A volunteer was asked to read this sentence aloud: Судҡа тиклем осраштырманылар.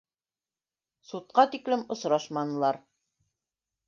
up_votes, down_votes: 0, 2